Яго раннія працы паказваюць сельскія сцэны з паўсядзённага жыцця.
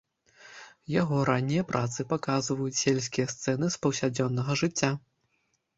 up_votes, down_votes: 2, 0